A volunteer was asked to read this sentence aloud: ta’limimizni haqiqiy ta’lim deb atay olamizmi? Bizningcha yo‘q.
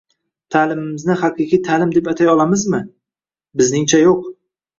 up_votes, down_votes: 1, 2